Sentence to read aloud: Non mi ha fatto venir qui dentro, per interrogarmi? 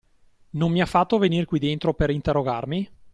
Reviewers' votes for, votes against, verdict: 2, 0, accepted